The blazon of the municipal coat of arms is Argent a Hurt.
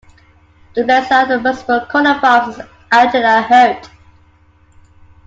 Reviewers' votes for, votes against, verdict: 0, 2, rejected